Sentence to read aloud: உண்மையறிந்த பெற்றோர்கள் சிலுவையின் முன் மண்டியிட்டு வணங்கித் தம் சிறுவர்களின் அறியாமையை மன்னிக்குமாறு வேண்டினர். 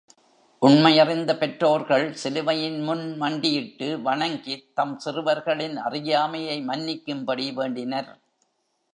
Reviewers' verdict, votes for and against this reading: rejected, 1, 2